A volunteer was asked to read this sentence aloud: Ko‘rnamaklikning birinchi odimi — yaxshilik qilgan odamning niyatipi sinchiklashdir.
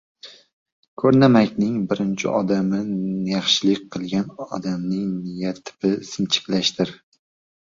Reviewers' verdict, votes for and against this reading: rejected, 0, 2